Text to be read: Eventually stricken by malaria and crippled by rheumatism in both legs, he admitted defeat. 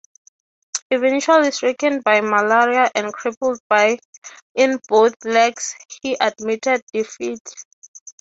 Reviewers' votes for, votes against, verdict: 3, 3, rejected